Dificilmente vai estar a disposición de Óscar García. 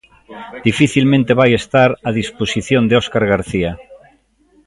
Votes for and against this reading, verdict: 1, 2, rejected